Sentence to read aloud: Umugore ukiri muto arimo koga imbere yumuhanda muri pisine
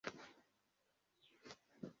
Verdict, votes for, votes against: rejected, 0, 2